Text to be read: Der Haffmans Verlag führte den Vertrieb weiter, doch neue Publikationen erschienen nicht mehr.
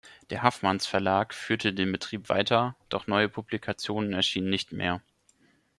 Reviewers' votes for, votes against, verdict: 1, 2, rejected